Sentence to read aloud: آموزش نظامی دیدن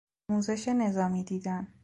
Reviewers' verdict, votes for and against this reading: rejected, 0, 2